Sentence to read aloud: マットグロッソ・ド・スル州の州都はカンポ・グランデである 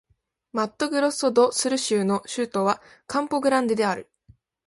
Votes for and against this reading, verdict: 2, 0, accepted